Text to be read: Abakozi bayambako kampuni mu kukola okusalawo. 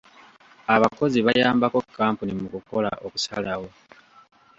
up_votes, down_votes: 2, 0